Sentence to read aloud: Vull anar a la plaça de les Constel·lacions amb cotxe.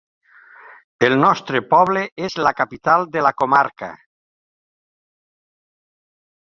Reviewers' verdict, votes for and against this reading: rejected, 1, 2